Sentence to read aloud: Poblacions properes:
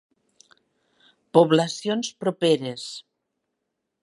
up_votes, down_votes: 2, 0